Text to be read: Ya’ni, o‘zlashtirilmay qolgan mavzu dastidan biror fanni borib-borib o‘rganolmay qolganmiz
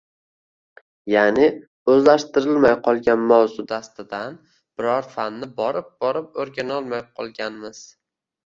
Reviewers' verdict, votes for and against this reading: accepted, 2, 1